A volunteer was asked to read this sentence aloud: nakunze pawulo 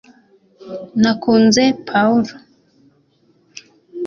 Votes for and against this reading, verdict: 2, 0, accepted